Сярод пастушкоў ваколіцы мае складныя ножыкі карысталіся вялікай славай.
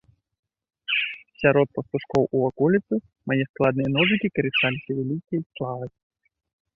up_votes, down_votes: 1, 2